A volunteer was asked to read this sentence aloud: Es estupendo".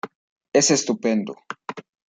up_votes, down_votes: 2, 0